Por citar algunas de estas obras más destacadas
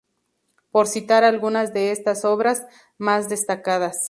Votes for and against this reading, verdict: 4, 0, accepted